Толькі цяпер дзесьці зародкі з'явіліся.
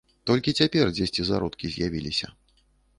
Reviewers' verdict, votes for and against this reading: accepted, 2, 0